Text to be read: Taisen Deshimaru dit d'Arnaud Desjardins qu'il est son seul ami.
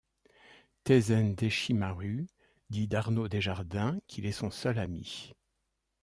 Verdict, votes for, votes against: accepted, 2, 0